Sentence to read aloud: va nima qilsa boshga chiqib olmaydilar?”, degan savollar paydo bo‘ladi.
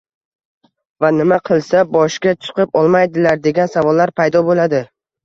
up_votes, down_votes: 0, 2